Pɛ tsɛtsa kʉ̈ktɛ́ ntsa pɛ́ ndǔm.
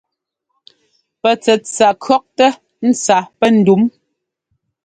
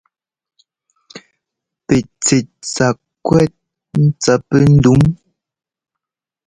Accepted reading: first